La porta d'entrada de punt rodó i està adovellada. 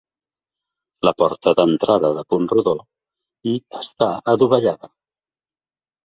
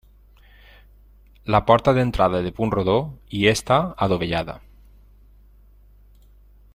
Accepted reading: first